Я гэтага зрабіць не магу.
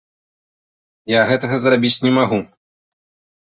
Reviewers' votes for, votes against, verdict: 2, 0, accepted